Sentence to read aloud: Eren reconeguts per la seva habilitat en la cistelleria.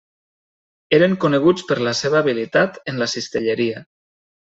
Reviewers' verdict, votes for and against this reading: rejected, 0, 2